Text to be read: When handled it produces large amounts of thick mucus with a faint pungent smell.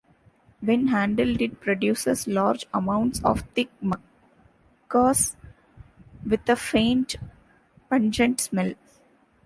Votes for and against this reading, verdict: 0, 2, rejected